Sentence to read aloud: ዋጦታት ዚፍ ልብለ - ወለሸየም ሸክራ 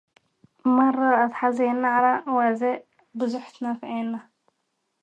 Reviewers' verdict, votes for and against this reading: rejected, 0, 2